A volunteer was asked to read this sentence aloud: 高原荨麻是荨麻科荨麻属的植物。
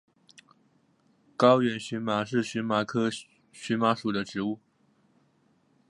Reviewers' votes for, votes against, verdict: 1, 2, rejected